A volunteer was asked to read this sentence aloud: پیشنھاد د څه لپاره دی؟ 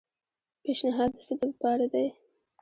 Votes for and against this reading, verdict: 1, 2, rejected